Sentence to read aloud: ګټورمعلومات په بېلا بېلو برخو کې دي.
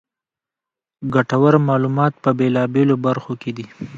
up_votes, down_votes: 2, 1